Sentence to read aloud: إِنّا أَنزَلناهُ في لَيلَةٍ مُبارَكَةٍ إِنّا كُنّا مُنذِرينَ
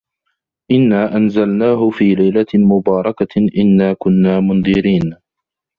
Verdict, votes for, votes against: accepted, 2, 1